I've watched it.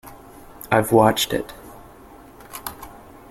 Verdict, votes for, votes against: accepted, 2, 0